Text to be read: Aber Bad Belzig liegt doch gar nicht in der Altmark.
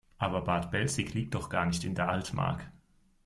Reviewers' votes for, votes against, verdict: 2, 0, accepted